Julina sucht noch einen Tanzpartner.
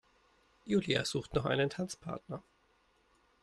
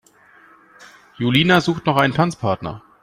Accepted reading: second